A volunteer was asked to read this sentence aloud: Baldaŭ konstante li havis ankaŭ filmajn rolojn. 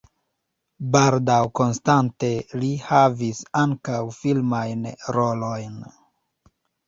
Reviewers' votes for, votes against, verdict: 0, 2, rejected